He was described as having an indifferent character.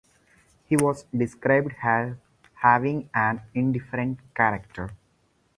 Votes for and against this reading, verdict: 4, 0, accepted